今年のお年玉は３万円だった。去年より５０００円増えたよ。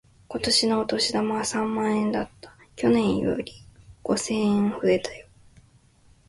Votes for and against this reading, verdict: 0, 2, rejected